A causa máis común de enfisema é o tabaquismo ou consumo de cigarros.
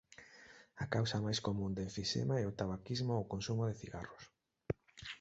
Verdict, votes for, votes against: accepted, 2, 0